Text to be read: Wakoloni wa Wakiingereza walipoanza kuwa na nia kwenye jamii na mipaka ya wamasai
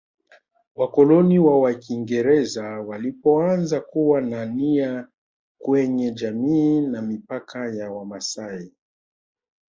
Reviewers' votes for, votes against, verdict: 2, 1, accepted